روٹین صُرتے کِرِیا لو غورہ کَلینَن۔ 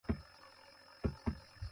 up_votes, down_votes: 0, 2